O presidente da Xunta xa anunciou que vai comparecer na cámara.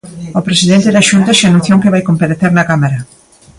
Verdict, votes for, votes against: accepted, 2, 0